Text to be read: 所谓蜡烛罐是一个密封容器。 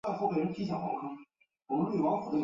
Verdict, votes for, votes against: rejected, 0, 4